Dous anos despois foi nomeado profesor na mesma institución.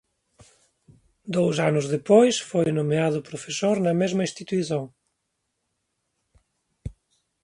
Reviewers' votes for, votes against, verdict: 0, 2, rejected